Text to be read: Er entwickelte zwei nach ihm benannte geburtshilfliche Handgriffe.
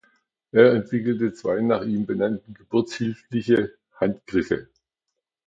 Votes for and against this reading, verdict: 2, 0, accepted